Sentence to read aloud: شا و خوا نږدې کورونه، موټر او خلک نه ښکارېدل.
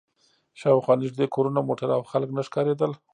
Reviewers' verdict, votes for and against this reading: rejected, 1, 2